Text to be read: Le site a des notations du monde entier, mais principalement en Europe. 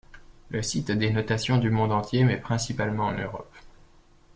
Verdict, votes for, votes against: accepted, 2, 0